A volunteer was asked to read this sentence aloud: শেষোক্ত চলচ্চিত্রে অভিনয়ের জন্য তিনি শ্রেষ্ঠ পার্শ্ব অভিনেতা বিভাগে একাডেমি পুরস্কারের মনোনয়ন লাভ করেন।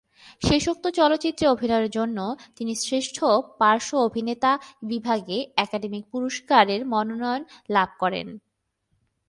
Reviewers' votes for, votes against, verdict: 2, 0, accepted